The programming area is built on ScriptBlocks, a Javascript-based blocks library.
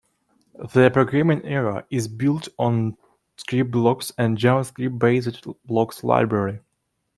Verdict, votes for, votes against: rejected, 0, 2